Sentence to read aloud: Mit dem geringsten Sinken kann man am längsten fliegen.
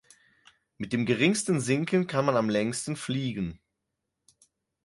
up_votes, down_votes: 4, 0